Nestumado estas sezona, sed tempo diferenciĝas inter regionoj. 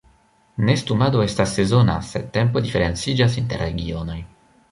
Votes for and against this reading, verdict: 1, 2, rejected